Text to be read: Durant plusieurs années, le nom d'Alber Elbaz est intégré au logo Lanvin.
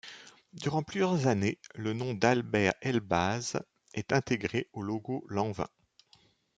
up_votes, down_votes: 0, 2